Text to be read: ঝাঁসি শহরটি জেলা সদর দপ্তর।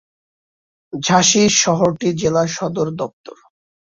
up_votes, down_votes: 2, 0